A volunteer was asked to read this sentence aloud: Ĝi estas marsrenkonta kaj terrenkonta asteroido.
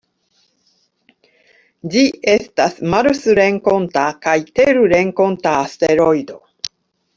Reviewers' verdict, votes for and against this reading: rejected, 1, 2